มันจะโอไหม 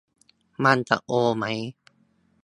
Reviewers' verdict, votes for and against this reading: accepted, 2, 0